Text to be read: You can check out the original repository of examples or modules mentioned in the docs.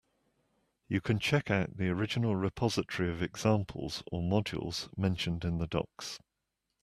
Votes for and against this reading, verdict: 2, 1, accepted